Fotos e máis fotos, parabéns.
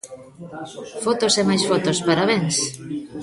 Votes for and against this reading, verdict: 1, 2, rejected